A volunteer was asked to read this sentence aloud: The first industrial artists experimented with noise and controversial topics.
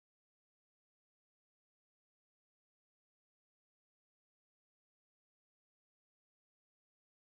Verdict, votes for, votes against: rejected, 0, 2